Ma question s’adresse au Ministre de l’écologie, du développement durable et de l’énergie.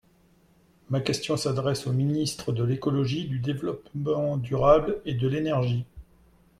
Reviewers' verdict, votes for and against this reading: rejected, 0, 2